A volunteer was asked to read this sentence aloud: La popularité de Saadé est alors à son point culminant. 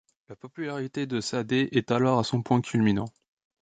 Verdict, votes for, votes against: accepted, 2, 0